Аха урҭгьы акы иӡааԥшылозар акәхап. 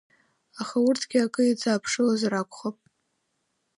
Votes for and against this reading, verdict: 2, 1, accepted